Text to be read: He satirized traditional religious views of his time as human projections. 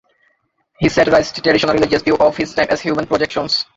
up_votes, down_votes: 0, 2